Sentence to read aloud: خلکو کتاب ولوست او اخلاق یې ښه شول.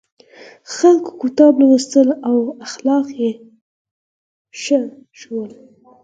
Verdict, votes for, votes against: accepted, 4, 0